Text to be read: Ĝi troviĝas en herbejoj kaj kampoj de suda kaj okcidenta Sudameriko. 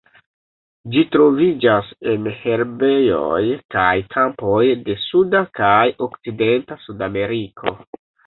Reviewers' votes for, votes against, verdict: 2, 0, accepted